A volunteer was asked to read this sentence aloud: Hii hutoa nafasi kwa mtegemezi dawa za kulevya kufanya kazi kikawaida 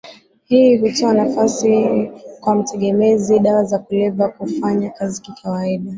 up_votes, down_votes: 2, 0